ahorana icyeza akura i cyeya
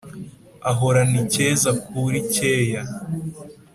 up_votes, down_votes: 2, 0